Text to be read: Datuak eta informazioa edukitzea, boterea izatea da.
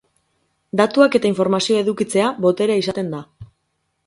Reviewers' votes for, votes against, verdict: 4, 6, rejected